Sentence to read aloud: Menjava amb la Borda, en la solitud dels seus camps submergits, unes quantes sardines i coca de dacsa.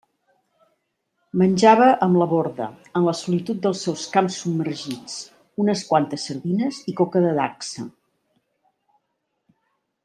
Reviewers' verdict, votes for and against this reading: rejected, 1, 2